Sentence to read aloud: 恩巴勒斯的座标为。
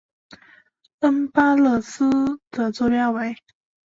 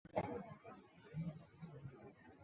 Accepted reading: first